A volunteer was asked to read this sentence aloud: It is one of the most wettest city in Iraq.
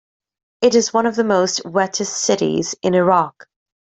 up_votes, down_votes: 1, 2